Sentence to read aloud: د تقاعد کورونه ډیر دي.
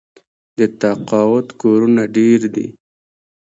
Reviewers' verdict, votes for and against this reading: rejected, 0, 2